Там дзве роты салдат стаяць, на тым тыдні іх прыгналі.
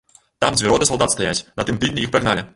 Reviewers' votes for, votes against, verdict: 0, 2, rejected